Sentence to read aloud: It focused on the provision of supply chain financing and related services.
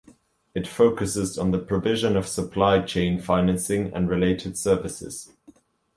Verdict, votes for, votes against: rejected, 0, 2